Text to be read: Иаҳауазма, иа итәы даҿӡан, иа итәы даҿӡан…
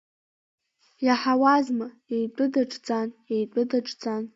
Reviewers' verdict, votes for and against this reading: rejected, 1, 2